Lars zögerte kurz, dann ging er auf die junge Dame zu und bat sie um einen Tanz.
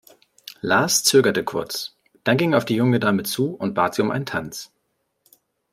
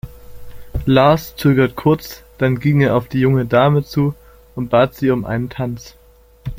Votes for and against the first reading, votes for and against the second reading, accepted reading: 2, 0, 1, 2, first